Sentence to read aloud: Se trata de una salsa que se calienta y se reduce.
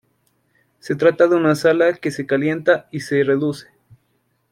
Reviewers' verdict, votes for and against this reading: rejected, 0, 2